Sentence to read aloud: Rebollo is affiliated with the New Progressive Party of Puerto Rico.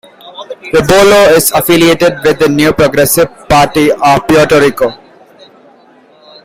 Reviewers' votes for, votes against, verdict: 1, 2, rejected